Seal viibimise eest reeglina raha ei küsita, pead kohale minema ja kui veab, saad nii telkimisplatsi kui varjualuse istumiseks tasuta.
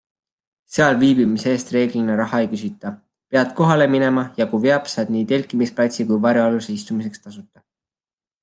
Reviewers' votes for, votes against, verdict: 2, 0, accepted